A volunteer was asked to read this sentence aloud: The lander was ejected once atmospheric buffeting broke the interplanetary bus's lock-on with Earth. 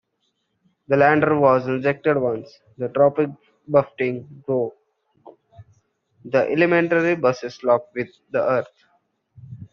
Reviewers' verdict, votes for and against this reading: rejected, 0, 2